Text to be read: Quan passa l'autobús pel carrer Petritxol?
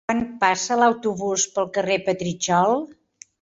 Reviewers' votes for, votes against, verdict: 1, 2, rejected